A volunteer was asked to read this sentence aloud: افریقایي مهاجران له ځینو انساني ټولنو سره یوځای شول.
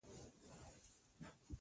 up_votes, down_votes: 2, 1